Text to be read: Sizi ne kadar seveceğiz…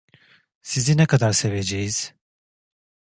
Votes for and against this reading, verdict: 2, 0, accepted